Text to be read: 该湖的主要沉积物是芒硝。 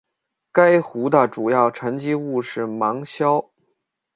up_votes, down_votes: 2, 0